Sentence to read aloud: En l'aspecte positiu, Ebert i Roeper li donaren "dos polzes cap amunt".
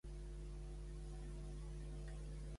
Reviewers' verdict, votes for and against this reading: rejected, 0, 2